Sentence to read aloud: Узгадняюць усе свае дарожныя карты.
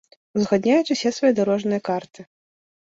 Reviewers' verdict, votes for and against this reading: accepted, 2, 0